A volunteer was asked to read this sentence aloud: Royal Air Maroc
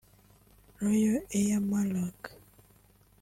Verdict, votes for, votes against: rejected, 0, 2